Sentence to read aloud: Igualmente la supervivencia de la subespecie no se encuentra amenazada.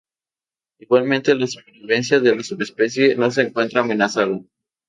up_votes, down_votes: 0, 2